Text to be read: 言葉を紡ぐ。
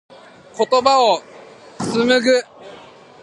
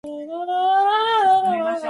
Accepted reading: first